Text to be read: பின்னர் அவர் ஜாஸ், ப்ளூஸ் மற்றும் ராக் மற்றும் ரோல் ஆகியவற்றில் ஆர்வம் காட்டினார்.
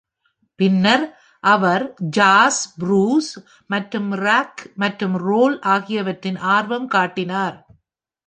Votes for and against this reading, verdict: 1, 2, rejected